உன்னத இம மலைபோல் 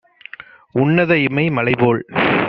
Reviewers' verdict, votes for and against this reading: rejected, 1, 2